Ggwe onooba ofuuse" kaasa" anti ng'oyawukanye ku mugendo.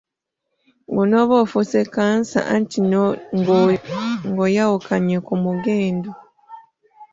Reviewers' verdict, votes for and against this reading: rejected, 1, 2